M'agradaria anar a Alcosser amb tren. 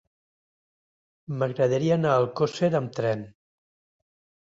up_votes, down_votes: 1, 2